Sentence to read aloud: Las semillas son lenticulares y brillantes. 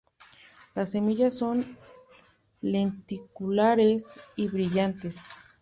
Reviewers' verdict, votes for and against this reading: rejected, 0, 2